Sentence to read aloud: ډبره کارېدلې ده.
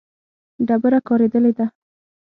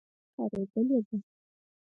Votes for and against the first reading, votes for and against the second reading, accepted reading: 6, 0, 2, 4, first